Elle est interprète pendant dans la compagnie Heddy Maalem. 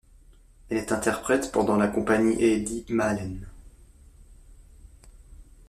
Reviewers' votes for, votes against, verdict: 0, 2, rejected